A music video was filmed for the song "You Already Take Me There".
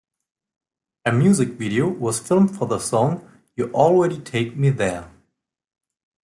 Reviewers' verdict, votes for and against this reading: accepted, 2, 0